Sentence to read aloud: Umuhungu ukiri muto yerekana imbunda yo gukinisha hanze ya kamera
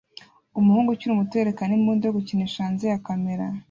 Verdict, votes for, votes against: accepted, 2, 0